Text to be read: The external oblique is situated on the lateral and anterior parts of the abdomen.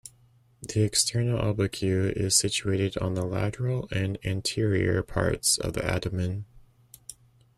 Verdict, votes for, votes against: rejected, 1, 2